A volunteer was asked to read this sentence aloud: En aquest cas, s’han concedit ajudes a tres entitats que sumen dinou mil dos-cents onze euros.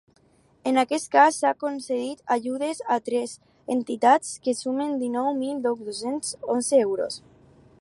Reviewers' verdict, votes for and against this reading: rejected, 2, 2